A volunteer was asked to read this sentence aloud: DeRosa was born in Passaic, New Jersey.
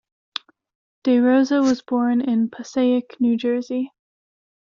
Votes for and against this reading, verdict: 2, 0, accepted